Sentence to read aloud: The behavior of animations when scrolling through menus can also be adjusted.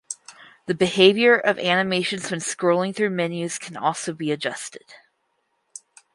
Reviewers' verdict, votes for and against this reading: accepted, 4, 0